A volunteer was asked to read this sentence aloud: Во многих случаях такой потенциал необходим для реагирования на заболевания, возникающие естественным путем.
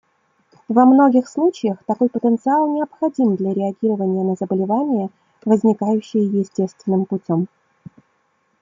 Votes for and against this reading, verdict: 2, 0, accepted